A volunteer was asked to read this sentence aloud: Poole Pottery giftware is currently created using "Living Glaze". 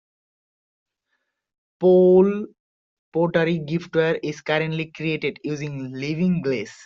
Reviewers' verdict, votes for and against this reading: accepted, 2, 0